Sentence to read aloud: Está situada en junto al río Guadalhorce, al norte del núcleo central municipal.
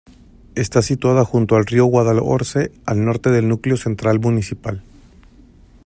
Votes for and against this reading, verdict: 1, 2, rejected